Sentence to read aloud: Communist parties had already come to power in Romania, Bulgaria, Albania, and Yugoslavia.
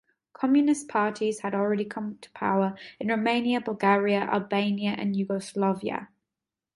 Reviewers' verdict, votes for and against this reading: accepted, 2, 1